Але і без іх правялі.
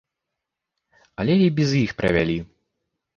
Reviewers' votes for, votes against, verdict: 0, 2, rejected